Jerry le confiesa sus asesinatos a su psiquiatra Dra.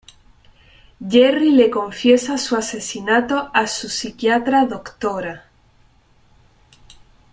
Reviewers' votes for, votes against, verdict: 0, 2, rejected